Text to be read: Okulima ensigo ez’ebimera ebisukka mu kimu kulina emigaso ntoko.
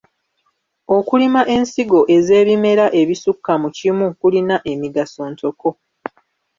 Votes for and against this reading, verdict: 1, 2, rejected